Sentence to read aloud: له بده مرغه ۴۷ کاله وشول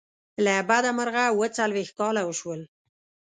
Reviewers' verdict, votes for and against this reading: rejected, 0, 2